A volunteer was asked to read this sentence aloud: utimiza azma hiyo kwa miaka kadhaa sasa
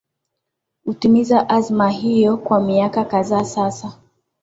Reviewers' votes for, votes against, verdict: 1, 2, rejected